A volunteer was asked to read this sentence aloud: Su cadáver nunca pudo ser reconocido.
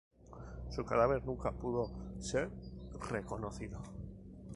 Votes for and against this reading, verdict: 2, 2, rejected